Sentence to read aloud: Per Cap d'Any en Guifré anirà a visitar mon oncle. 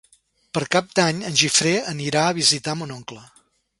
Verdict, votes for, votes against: rejected, 0, 2